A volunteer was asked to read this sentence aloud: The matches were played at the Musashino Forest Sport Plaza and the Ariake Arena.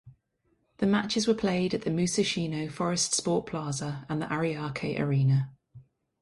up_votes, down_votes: 0, 2